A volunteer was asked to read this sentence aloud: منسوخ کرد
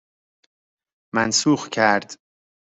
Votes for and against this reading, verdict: 2, 0, accepted